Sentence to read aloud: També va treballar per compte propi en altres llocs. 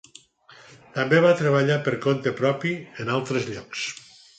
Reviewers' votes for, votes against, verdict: 4, 0, accepted